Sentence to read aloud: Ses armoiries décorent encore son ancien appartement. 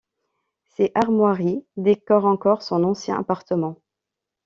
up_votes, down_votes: 1, 2